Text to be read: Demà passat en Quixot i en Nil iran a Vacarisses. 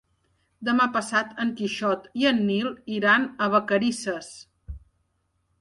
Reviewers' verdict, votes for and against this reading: accepted, 2, 0